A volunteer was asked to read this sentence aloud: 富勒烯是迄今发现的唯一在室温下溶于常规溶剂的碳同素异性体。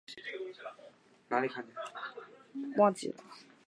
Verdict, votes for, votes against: rejected, 0, 4